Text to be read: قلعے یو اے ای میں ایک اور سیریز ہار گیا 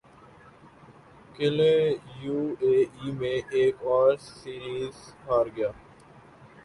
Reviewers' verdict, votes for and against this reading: rejected, 3, 6